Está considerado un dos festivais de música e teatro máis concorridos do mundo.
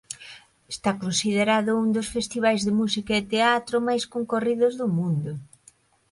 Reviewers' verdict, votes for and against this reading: accepted, 2, 0